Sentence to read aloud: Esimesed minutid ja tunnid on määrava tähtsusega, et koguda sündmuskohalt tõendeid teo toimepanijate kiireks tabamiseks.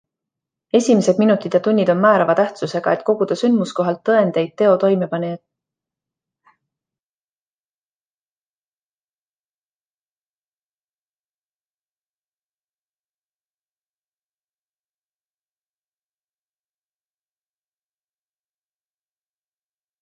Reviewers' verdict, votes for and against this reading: rejected, 0, 2